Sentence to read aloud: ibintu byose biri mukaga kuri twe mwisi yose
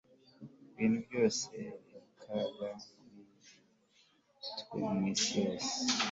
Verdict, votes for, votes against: accepted, 2, 0